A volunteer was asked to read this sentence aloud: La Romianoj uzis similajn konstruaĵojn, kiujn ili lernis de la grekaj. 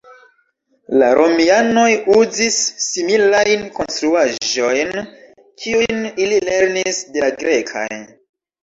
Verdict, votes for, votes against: accepted, 2, 1